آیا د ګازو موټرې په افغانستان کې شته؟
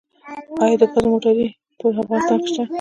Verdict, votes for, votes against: rejected, 1, 2